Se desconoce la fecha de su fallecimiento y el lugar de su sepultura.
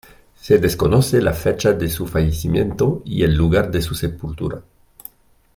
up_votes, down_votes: 2, 0